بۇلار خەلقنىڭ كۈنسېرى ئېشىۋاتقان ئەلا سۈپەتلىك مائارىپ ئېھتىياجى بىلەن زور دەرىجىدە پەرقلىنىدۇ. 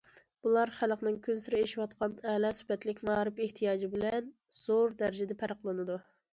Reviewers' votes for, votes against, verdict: 2, 0, accepted